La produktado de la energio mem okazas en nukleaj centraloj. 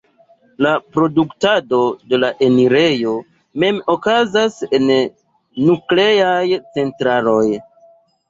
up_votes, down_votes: 1, 2